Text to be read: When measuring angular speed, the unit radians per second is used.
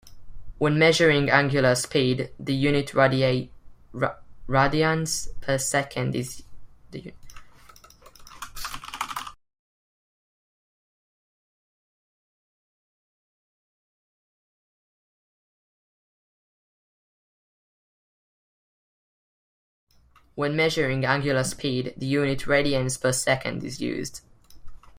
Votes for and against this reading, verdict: 1, 2, rejected